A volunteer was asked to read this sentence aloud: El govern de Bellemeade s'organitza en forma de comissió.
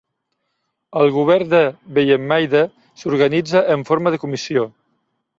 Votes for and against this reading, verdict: 0, 2, rejected